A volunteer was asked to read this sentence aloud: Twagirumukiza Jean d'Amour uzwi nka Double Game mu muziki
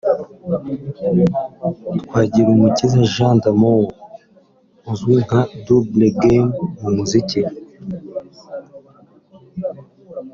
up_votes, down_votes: 2, 0